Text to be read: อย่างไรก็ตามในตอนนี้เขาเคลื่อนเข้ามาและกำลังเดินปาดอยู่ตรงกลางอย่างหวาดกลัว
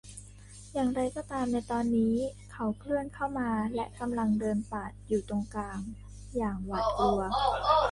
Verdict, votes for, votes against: rejected, 0, 2